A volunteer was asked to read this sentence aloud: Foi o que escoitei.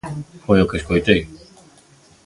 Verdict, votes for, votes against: accepted, 2, 0